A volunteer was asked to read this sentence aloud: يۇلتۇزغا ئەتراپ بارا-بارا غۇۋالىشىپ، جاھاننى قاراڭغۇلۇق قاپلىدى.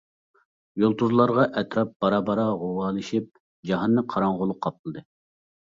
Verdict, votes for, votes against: rejected, 0, 2